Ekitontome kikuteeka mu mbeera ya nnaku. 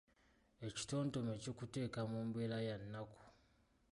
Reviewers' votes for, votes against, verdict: 2, 0, accepted